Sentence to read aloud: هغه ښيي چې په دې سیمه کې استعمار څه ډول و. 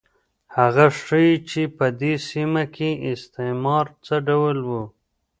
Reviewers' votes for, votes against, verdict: 0, 2, rejected